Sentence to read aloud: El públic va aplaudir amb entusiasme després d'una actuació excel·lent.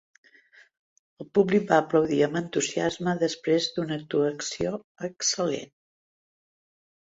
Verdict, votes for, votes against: accepted, 2, 0